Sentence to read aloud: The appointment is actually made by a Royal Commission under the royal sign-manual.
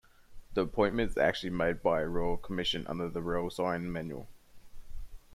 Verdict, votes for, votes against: accepted, 2, 0